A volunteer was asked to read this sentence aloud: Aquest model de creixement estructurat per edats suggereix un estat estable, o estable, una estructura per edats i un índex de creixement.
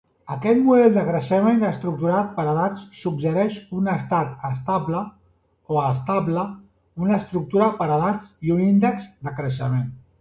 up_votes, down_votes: 0, 2